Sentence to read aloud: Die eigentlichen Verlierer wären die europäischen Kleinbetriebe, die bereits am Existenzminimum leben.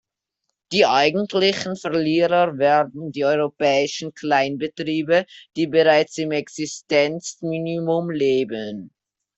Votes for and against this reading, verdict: 0, 2, rejected